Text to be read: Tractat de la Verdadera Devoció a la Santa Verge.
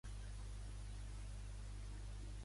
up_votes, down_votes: 0, 3